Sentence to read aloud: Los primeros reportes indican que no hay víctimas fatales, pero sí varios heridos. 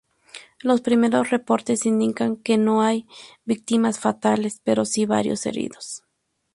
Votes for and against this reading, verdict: 2, 0, accepted